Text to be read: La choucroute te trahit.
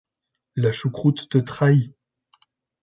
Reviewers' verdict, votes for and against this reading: accepted, 2, 0